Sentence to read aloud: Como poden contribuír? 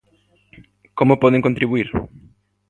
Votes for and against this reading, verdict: 2, 0, accepted